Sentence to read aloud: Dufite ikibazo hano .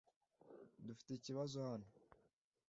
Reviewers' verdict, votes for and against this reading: accepted, 2, 0